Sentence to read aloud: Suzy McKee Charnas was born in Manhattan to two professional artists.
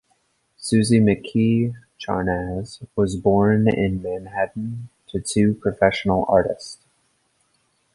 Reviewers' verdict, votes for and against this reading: accepted, 2, 0